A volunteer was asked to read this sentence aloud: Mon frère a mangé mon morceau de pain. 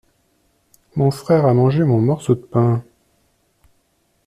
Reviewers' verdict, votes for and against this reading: accepted, 2, 0